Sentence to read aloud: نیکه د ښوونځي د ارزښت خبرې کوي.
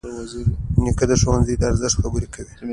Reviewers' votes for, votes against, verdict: 2, 0, accepted